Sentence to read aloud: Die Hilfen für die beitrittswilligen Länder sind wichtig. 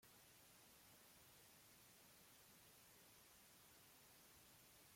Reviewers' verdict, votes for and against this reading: rejected, 0, 2